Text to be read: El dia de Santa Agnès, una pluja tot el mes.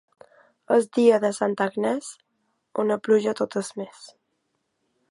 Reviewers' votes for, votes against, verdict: 0, 2, rejected